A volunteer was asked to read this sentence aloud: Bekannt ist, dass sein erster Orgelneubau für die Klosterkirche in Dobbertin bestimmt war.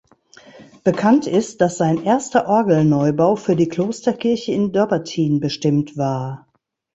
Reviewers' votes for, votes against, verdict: 1, 2, rejected